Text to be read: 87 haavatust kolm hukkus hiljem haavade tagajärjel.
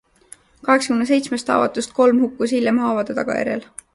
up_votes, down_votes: 0, 2